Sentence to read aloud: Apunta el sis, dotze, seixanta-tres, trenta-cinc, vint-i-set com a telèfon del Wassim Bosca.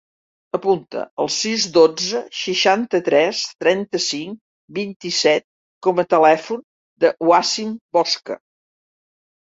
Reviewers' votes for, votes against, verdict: 2, 0, accepted